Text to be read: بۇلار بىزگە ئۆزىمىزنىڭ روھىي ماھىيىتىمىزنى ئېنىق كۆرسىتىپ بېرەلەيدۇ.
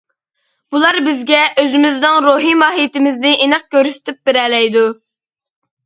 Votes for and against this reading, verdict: 2, 0, accepted